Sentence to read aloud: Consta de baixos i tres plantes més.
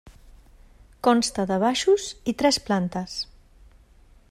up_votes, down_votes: 0, 2